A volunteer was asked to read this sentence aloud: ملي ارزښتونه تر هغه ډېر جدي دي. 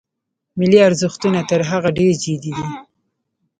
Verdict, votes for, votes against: accepted, 2, 0